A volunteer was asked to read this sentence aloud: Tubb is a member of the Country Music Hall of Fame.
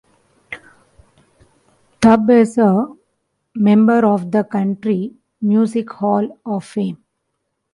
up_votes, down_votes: 2, 0